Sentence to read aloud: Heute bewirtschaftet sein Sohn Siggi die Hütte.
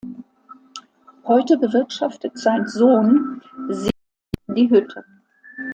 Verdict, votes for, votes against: rejected, 0, 2